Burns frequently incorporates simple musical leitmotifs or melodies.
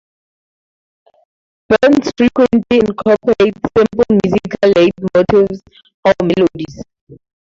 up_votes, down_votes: 2, 0